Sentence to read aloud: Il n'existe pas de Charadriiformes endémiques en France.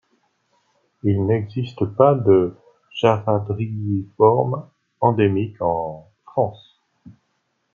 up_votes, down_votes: 1, 2